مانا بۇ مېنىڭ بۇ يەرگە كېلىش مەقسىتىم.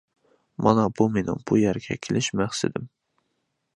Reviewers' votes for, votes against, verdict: 2, 0, accepted